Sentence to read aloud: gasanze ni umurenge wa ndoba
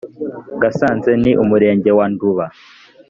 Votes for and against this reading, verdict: 1, 2, rejected